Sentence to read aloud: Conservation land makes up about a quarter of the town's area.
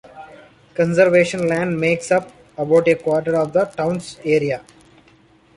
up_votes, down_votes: 2, 0